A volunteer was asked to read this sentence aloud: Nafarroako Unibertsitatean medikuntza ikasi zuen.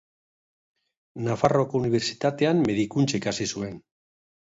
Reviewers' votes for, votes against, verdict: 2, 3, rejected